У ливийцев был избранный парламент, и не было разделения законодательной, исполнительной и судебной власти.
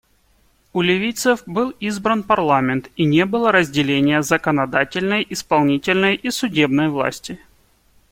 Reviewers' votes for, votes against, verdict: 1, 2, rejected